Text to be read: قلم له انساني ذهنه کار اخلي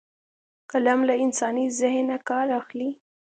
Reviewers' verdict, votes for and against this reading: accepted, 2, 0